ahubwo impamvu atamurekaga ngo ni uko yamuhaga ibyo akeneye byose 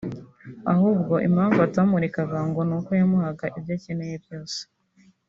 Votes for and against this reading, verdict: 4, 0, accepted